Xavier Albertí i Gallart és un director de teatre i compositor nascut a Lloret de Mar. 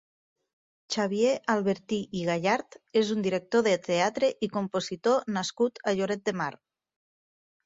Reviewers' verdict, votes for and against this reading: accepted, 2, 0